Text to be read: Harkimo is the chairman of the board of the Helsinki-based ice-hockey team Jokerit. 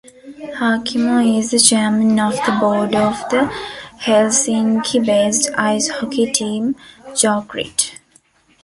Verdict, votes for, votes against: rejected, 0, 2